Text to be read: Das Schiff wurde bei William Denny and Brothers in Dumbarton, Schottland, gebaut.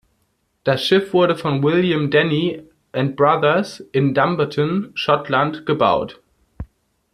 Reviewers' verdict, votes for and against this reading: rejected, 1, 2